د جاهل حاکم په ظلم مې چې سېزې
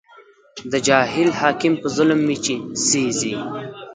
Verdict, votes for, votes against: rejected, 1, 2